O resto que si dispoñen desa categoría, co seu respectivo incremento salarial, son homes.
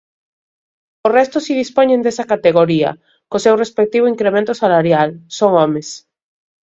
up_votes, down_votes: 1, 2